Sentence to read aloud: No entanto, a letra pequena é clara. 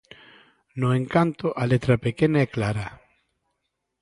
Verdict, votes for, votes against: rejected, 0, 2